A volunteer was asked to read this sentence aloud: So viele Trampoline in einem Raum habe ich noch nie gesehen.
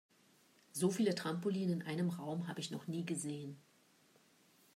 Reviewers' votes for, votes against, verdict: 2, 0, accepted